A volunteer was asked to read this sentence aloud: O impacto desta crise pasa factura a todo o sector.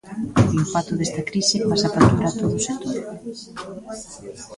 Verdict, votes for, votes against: rejected, 0, 2